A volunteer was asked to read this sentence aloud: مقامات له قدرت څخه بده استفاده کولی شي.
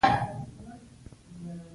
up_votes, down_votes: 2, 1